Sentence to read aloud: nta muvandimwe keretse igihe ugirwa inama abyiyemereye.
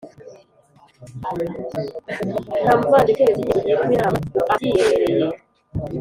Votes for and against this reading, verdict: 0, 2, rejected